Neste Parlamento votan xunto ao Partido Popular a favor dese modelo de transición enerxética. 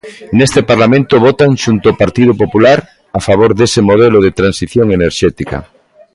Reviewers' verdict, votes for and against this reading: accepted, 2, 0